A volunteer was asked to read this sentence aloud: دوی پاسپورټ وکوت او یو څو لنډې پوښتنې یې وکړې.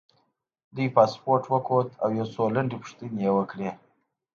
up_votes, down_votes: 2, 0